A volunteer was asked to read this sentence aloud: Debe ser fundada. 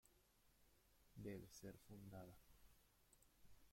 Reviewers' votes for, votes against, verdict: 0, 2, rejected